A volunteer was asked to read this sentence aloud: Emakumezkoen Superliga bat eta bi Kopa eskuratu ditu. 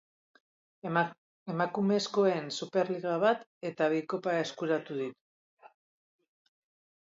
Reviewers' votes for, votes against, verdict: 0, 2, rejected